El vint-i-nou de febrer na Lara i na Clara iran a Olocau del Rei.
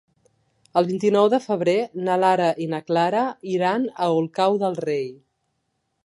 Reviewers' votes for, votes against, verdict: 1, 2, rejected